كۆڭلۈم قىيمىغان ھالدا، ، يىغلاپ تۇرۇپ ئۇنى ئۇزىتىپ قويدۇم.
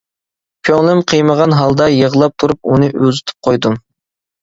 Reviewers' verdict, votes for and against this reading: accepted, 2, 0